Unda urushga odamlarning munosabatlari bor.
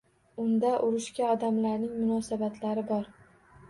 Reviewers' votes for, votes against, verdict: 2, 0, accepted